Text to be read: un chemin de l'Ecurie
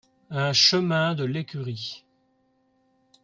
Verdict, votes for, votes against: accepted, 2, 0